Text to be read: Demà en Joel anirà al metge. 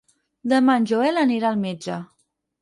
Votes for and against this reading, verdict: 6, 0, accepted